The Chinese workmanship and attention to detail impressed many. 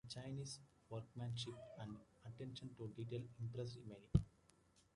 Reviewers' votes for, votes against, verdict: 2, 1, accepted